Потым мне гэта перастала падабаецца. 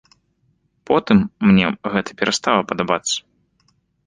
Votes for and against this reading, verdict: 2, 0, accepted